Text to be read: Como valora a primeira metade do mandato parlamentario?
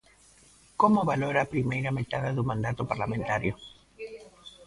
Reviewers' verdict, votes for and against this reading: rejected, 1, 2